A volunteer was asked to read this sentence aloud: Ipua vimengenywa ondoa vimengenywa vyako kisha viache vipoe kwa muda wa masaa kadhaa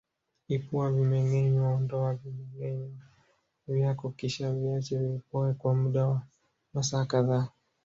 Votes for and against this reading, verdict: 0, 2, rejected